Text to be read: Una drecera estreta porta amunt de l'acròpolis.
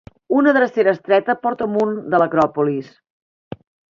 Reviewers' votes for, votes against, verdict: 0, 2, rejected